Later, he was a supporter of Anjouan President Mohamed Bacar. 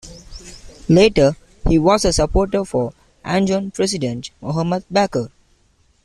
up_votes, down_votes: 1, 2